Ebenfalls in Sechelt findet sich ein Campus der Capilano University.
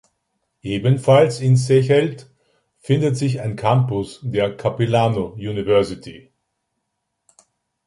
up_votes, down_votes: 2, 0